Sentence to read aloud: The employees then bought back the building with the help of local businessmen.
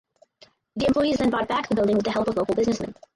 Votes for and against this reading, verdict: 2, 4, rejected